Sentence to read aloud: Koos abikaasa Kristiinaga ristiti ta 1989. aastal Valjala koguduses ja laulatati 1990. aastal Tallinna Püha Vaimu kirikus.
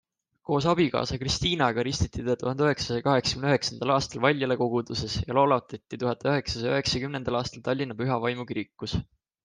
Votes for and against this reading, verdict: 0, 2, rejected